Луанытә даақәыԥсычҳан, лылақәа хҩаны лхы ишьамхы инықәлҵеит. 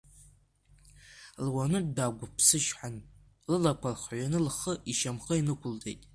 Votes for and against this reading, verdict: 2, 0, accepted